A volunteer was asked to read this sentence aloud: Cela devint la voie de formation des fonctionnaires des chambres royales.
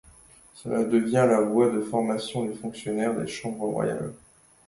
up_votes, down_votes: 0, 2